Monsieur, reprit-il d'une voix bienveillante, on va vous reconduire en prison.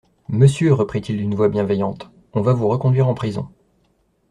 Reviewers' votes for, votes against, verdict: 2, 0, accepted